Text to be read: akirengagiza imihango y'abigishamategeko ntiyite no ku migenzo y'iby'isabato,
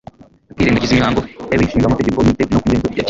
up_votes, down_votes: 1, 2